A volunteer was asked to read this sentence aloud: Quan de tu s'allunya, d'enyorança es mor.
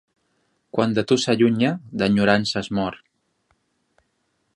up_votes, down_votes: 2, 0